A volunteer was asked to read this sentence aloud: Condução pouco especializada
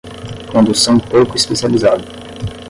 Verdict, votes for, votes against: accepted, 10, 0